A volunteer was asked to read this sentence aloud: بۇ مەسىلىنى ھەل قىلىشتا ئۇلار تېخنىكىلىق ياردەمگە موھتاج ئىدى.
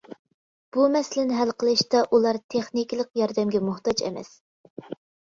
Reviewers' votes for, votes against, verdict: 0, 2, rejected